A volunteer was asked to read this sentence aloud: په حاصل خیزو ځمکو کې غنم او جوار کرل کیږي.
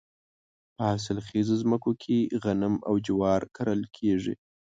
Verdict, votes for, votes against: accepted, 2, 0